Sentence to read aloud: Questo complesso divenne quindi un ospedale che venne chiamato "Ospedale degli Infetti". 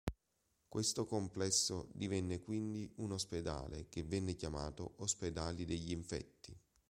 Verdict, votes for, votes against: accepted, 2, 0